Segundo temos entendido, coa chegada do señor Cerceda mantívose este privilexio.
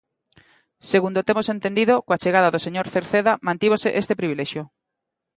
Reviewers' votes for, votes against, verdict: 2, 0, accepted